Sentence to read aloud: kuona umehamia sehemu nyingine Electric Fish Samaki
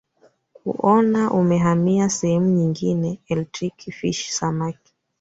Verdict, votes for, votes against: accepted, 2, 0